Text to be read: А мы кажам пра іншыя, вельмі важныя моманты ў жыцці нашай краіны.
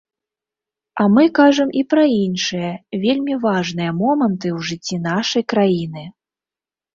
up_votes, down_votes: 1, 2